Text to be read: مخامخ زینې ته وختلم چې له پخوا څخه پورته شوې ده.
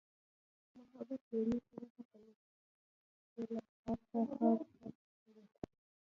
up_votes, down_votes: 0, 2